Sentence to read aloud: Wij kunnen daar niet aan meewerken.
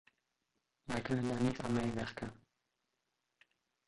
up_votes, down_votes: 0, 2